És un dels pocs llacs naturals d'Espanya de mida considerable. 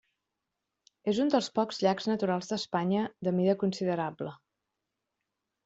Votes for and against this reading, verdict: 4, 0, accepted